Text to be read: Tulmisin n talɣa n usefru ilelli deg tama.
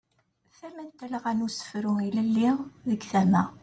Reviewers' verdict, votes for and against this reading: rejected, 1, 2